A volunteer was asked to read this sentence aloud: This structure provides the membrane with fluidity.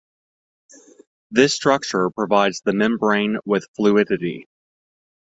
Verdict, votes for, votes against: rejected, 0, 2